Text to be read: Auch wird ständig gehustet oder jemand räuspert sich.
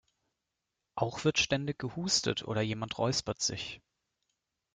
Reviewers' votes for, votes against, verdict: 2, 0, accepted